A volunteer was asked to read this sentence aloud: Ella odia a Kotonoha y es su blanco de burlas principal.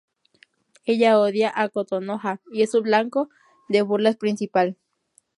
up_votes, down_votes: 0, 2